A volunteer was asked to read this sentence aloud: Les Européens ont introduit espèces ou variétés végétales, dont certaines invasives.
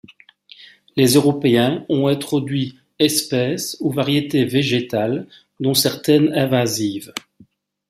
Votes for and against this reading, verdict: 2, 0, accepted